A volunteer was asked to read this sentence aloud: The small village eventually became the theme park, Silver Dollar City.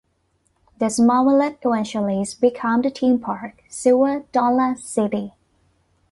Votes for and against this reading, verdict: 0, 2, rejected